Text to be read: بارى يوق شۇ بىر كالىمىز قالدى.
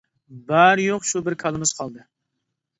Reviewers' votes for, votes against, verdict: 2, 0, accepted